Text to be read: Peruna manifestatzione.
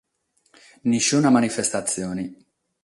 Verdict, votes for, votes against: accepted, 6, 0